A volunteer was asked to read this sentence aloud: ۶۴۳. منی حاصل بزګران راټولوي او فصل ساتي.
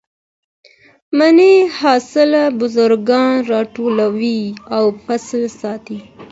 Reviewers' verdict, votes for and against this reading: rejected, 0, 2